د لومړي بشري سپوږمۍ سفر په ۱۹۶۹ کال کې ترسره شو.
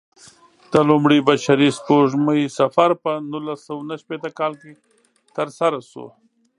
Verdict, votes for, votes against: rejected, 0, 2